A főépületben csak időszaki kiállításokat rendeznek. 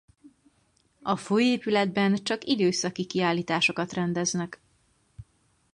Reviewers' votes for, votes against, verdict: 2, 4, rejected